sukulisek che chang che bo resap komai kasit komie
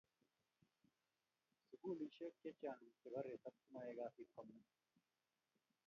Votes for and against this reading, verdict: 1, 2, rejected